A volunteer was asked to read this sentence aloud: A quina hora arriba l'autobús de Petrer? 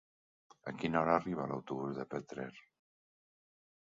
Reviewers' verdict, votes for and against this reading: accepted, 4, 0